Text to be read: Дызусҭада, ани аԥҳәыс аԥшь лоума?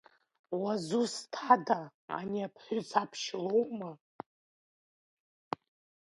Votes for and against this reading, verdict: 0, 2, rejected